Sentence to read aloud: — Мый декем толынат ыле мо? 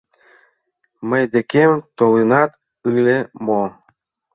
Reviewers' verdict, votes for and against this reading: rejected, 1, 2